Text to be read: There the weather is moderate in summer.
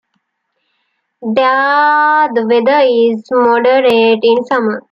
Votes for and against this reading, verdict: 2, 0, accepted